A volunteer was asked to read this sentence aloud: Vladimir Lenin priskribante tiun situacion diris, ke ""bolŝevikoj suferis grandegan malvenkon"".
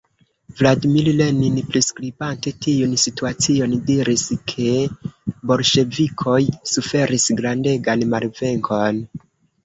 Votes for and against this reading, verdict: 2, 0, accepted